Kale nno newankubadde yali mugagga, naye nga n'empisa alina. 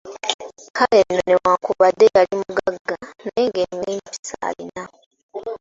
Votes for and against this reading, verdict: 0, 2, rejected